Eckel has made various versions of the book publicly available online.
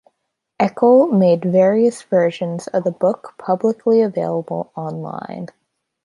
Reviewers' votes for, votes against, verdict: 0, 2, rejected